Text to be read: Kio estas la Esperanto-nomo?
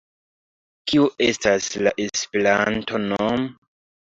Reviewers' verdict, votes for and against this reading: accepted, 2, 1